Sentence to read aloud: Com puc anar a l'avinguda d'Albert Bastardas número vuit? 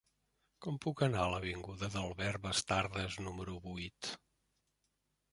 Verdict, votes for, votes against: rejected, 1, 2